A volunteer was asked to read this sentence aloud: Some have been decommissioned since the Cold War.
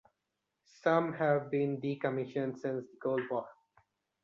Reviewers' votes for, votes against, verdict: 2, 1, accepted